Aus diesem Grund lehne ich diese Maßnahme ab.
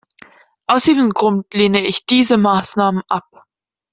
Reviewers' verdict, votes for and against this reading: rejected, 0, 2